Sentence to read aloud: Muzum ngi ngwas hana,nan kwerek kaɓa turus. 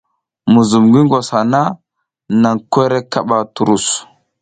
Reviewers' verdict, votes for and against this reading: accepted, 2, 0